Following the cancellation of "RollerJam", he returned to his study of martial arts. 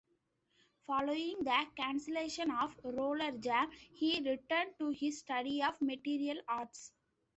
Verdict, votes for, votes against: accepted, 2, 1